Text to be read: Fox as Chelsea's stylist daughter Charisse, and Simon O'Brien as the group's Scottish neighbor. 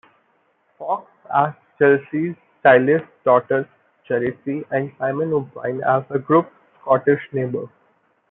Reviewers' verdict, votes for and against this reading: rejected, 0, 2